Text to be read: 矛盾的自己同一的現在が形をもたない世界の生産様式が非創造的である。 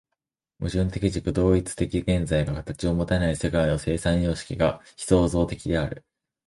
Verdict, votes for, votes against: accepted, 2, 1